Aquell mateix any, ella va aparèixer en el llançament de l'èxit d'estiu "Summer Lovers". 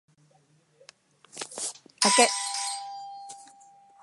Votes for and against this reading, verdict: 0, 2, rejected